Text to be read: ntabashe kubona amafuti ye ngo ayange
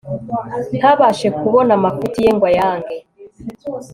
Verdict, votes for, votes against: accepted, 3, 0